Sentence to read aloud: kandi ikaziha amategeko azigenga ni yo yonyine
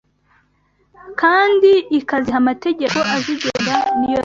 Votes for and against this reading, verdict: 0, 2, rejected